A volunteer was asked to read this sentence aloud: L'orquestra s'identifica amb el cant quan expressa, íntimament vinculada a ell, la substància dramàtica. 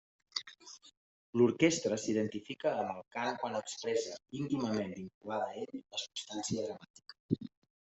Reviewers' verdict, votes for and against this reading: rejected, 0, 2